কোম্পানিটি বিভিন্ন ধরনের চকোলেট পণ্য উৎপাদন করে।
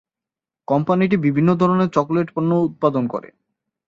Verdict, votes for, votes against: accepted, 3, 0